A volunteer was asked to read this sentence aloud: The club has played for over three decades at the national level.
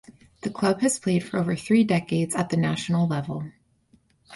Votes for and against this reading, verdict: 4, 0, accepted